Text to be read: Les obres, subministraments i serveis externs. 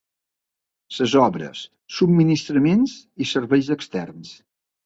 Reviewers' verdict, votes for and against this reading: rejected, 1, 2